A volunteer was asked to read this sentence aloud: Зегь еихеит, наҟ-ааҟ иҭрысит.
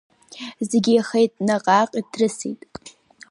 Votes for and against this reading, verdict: 3, 0, accepted